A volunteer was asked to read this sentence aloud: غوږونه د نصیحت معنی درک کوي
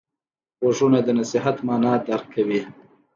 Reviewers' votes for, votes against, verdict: 2, 0, accepted